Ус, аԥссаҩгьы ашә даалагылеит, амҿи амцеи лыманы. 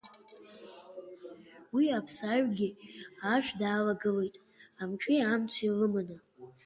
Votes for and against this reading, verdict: 0, 2, rejected